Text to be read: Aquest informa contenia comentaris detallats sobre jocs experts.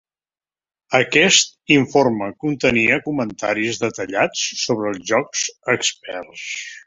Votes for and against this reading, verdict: 2, 0, accepted